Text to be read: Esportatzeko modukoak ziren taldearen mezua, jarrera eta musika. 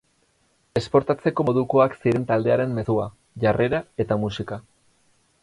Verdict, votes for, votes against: accepted, 4, 0